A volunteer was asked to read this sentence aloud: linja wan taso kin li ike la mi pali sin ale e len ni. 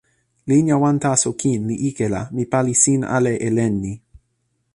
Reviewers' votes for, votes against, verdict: 2, 0, accepted